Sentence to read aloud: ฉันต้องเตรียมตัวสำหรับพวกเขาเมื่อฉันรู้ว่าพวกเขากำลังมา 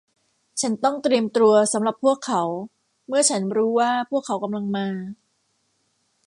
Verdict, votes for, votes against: rejected, 1, 2